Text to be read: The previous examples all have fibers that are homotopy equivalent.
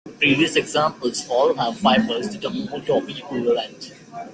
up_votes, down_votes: 0, 2